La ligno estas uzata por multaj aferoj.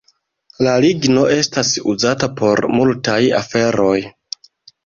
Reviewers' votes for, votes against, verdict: 1, 2, rejected